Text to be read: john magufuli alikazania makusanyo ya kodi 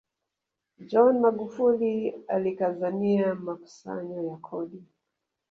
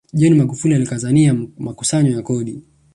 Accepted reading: second